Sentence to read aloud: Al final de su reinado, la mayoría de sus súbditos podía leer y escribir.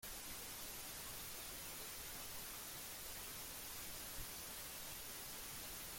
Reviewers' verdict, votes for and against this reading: rejected, 0, 2